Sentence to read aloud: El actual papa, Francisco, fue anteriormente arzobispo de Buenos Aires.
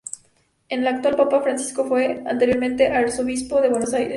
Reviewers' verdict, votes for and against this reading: accepted, 2, 0